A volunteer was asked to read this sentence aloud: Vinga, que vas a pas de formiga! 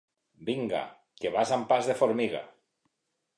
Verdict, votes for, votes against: rejected, 0, 2